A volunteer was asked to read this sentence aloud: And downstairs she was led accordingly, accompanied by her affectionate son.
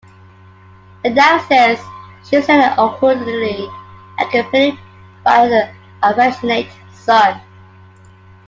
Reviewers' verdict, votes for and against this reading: rejected, 1, 2